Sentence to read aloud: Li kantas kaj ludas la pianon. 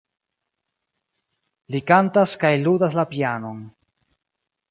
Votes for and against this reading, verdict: 0, 2, rejected